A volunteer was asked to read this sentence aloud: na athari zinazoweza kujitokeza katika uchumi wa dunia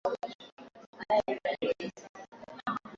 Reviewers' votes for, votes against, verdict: 0, 2, rejected